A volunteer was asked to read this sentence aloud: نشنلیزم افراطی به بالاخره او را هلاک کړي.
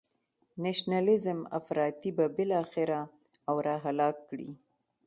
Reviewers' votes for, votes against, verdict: 2, 0, accepted